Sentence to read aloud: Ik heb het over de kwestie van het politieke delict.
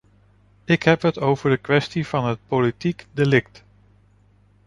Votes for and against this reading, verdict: 0, 2, rejected